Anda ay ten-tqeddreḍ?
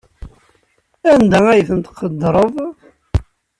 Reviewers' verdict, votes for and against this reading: accepted, 2, 0